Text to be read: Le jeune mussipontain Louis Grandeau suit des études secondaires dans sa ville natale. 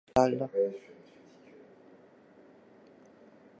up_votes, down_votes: 0, 2